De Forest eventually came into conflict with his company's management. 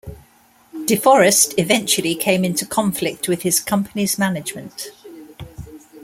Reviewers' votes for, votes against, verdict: 2, 0, accepted